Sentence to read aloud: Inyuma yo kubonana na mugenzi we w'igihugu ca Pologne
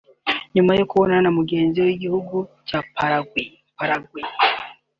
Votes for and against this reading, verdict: 0, 2, rejected